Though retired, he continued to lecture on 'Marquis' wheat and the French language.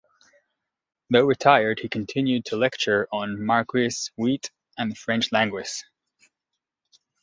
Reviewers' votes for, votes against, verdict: 1, 2, rejected